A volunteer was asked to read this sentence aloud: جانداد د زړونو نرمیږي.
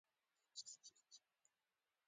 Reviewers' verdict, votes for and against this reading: accepted, 2, 0